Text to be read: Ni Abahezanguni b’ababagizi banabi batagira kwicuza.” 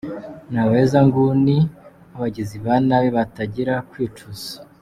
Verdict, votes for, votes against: accepted, 2, 0